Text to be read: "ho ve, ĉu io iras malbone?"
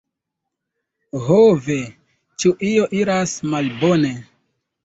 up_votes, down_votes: 2, 0